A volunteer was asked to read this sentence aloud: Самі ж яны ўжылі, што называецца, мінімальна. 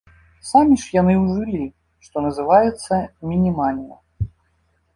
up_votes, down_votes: 0, 2